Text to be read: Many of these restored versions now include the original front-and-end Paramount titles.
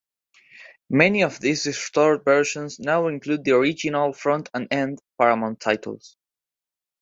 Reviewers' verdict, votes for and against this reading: accepted, 2, 0